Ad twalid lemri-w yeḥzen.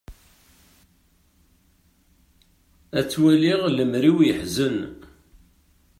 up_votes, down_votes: 1, 2